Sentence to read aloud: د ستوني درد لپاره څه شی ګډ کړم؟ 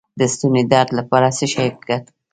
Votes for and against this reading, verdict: 0, 3, rejected